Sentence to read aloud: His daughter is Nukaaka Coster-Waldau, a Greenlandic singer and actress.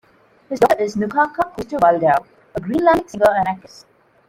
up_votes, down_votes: 0, 2